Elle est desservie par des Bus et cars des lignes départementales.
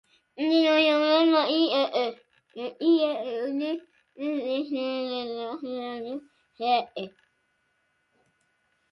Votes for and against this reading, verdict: 0, 2, rejected